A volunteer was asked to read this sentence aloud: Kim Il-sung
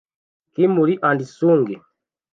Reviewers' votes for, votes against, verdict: 1, 2, rejected